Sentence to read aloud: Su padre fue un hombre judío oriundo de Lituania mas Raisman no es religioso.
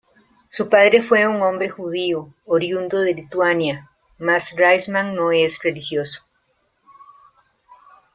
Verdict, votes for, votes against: accepted, 2, 0